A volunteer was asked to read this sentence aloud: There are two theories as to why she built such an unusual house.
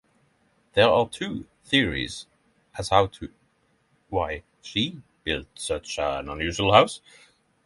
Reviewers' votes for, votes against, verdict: 0, 6, rejected